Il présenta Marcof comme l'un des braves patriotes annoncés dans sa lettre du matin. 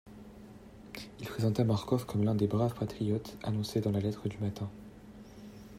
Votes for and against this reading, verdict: 1, 2, rejected